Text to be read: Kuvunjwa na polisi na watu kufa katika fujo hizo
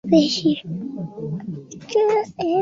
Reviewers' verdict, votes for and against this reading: rejected, 1, 2